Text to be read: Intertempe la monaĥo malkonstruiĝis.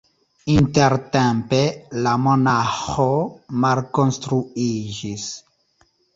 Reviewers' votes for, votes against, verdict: 2, 0, accepted